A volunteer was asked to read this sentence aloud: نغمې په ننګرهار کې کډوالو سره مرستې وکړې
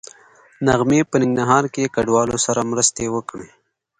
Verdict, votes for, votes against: accepted, 2, 0